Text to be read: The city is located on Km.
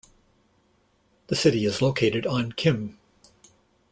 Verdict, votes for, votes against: rejected, 0, 2